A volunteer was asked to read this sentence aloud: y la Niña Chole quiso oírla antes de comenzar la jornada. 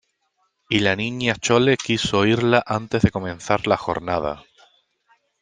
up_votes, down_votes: 2, 0